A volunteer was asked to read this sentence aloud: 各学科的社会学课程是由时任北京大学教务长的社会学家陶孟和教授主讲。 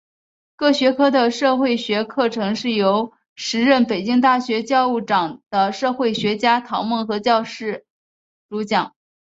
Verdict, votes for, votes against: rejected, 1, 2